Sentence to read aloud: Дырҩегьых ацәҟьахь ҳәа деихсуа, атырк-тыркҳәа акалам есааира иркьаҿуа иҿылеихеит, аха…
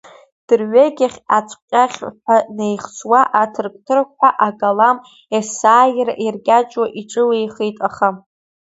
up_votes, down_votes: 1, 2